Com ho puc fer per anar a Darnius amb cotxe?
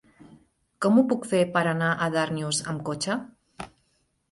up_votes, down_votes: 1, 2